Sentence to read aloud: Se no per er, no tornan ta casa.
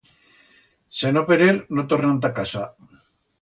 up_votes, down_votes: 2, 0